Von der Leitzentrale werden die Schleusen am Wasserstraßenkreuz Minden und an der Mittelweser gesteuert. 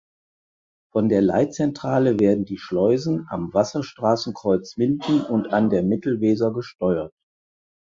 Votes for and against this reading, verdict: 4, 0, accepted